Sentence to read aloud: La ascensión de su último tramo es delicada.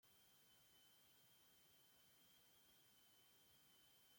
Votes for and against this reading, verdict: 0, 2, rejected